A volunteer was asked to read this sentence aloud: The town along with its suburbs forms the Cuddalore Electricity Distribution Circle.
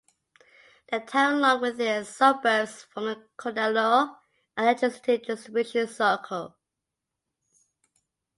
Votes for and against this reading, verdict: 0, 2, rejected